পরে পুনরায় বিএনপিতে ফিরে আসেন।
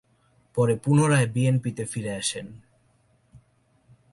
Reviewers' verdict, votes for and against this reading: rejected, 2, 2